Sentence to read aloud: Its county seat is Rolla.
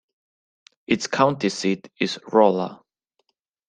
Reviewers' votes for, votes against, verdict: 2, 0, accepted